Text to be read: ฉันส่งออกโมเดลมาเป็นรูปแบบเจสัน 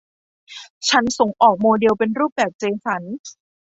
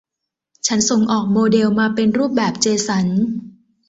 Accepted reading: second